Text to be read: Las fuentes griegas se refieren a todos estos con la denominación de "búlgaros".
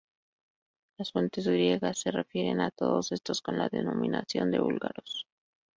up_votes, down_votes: 0, 2